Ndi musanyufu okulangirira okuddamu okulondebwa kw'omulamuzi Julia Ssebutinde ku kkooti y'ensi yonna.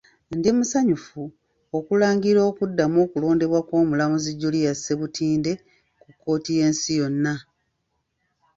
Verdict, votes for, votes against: rejected, 1, 2